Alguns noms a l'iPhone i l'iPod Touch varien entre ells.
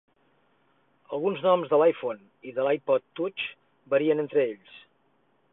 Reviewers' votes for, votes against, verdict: 0, 6, rejected